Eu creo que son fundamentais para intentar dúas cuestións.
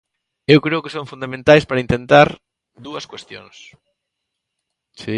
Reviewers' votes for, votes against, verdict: 0, 2, rejected